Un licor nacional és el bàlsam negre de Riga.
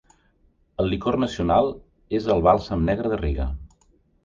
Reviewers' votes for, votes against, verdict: 1, 2, rejected